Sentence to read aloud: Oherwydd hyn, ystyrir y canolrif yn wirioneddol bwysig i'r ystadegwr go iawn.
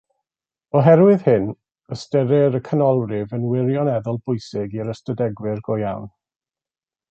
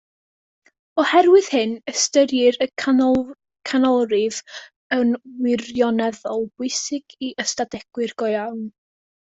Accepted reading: first